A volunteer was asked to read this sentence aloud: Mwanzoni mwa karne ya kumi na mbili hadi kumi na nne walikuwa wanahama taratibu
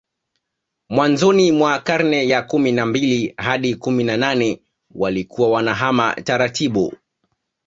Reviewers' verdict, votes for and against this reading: rejected, 1, 2